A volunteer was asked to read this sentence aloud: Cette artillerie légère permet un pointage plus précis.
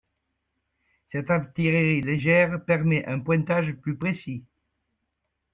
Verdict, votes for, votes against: accepted, 2, 0